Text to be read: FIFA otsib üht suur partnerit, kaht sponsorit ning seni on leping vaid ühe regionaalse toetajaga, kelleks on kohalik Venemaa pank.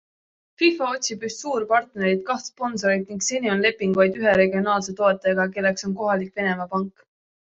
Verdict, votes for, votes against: accepted, 2, 0